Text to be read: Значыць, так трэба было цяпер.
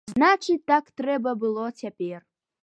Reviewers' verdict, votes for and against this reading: accepted, 2, 0